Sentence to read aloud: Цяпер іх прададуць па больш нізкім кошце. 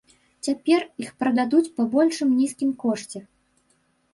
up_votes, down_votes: 0, 2